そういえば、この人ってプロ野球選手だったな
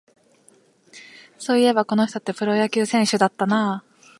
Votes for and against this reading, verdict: 1, 2, rejected